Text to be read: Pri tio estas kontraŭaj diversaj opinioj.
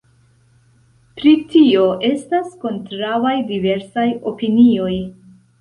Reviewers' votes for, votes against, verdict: 2, 0, accepted